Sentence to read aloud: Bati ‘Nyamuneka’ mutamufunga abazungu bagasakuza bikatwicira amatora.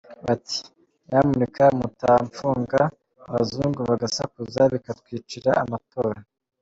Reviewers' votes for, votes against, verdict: 2, 0, accepted